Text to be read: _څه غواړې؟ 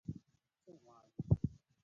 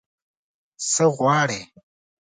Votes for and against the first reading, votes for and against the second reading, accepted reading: 0, 2, 2, 0, second